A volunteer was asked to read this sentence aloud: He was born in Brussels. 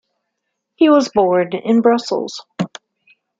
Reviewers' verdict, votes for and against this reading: accepted, 2, 1